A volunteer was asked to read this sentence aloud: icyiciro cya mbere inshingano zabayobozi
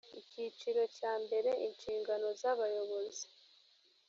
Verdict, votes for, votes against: accepted, 2, 0